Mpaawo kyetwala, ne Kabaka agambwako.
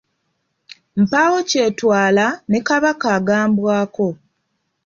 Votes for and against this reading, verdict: 2, 0, accepted